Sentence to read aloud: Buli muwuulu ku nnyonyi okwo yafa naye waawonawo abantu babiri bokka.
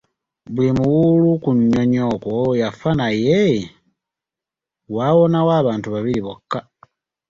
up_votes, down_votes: 2, 0